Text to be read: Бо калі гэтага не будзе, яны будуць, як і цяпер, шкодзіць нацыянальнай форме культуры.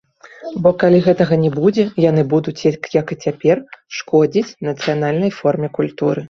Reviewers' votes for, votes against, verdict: 1, 2, rejected